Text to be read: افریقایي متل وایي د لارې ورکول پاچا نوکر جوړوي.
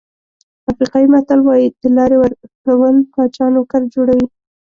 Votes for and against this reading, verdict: 2, 1, accepted